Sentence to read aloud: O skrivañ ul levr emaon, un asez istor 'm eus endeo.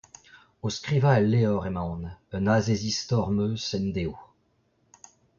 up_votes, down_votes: 1, 2